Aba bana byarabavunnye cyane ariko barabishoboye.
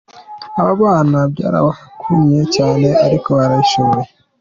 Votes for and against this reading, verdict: 2, 0, accepted